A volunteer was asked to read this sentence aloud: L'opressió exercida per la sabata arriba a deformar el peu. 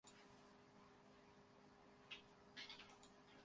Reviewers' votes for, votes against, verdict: 0, 2, rejected